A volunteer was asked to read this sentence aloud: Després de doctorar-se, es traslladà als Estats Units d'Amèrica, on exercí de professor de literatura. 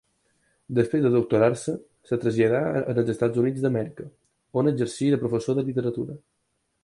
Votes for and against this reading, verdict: 2, 4, rejected